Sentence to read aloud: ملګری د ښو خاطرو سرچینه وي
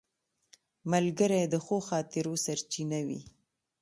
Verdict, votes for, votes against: accepted, 2, 0